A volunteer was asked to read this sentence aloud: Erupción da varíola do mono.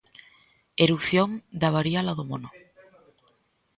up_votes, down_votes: 2, 0